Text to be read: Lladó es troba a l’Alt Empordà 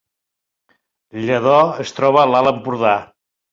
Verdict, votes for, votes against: accepted, 3, 0